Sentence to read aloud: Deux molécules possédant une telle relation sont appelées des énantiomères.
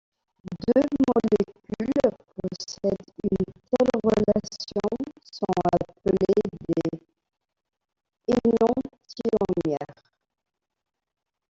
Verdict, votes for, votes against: rejected, 0, 2